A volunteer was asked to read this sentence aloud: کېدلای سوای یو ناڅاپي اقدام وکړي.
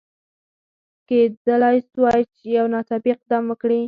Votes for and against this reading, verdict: 2, 4, rejected